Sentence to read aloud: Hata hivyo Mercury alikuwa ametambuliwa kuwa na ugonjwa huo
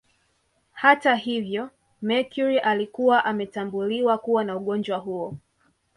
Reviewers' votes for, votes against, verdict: 2, 0, accepted